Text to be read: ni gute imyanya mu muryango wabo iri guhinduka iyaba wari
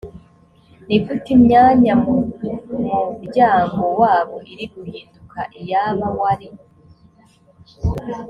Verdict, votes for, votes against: accepted, 2, 0